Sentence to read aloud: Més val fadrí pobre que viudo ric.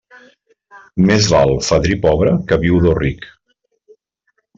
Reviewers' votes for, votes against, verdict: 2, 0, accepted